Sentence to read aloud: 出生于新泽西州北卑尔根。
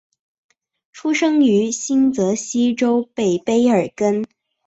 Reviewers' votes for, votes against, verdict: 2, 0, accepted